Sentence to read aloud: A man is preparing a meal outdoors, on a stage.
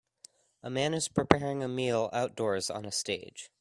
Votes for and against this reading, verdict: 2, 0, accepted